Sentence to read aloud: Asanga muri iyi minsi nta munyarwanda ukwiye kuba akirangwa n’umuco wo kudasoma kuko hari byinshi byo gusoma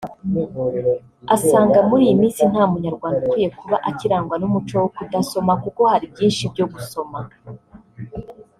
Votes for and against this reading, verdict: 1, 2, rejected